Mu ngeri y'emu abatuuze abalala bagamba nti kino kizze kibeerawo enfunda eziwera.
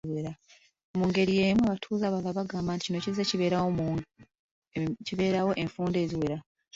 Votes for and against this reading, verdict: 1, 2, rejected